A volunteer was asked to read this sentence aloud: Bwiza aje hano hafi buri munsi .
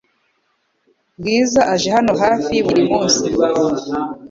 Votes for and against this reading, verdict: 2, 0, accepted